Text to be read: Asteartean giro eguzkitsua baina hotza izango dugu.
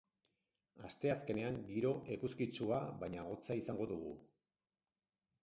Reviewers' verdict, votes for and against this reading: rejected, 2, 6